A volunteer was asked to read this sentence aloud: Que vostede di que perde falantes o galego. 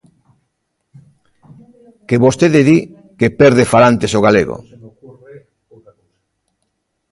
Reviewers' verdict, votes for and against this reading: rejected, 0, 2